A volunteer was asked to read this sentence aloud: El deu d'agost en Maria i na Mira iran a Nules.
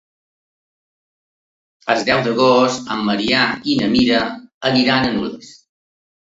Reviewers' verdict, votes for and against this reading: rejected, 1, 2